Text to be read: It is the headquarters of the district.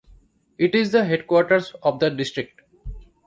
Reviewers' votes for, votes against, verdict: 2, 1, accepted